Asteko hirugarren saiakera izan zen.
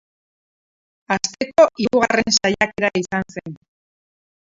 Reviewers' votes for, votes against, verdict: 0, 4, rejected